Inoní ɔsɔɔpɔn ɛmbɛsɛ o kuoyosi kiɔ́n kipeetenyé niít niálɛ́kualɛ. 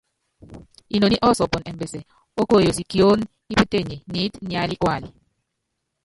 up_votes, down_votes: 0, 2